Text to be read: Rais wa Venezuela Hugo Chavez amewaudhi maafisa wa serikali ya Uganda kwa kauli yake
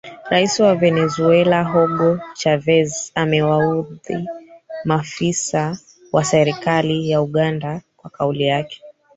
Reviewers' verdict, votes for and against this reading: rejected, 1, 3